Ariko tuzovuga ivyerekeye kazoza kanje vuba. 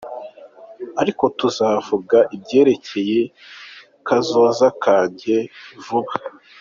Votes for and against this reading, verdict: 2, 1, accepted